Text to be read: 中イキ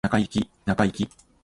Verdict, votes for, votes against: rejected, 1, 2